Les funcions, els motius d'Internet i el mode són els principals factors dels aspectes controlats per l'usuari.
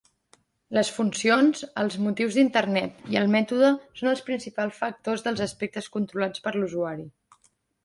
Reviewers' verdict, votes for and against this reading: rejected, 0, 2